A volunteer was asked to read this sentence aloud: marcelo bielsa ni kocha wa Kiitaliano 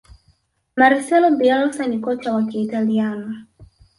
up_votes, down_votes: 1, 2